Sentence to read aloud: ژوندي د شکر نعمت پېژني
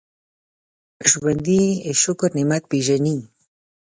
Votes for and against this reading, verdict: 2, 0, accepted